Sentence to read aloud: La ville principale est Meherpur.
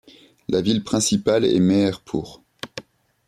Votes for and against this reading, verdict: 2, 0, accepted